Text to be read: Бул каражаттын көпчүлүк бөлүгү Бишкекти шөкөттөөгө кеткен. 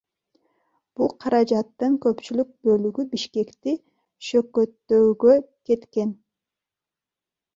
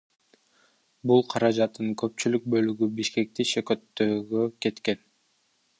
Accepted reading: first